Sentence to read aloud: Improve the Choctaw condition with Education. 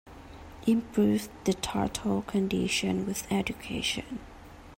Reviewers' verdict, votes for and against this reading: rejected, 0, 2